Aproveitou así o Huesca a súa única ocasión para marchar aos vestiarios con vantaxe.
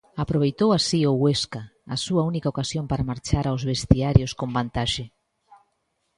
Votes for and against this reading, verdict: 2, 0, accepted